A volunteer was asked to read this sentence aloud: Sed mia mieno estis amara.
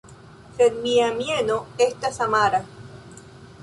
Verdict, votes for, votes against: rejected, 1, 2